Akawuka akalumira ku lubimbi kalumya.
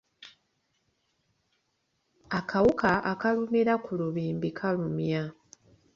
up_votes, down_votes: 2, 0